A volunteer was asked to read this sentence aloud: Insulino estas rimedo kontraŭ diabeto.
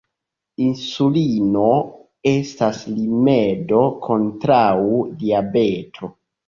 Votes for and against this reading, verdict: 1, 2, rejected